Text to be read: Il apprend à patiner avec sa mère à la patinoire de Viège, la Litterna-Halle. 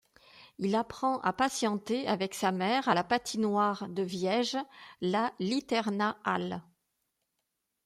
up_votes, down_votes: 0, 2